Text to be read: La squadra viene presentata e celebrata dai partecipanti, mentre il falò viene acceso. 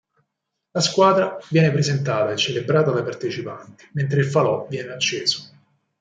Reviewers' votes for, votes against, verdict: 4, 0, accepted